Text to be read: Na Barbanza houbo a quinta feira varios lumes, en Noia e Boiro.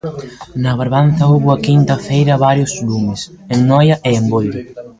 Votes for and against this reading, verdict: 1, 2, rejected